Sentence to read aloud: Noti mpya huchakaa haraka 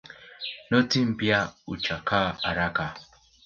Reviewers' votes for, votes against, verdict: 2, 0, accepted